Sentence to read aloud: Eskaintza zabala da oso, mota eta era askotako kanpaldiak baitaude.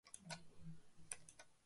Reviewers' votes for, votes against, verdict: 0, 3, rejected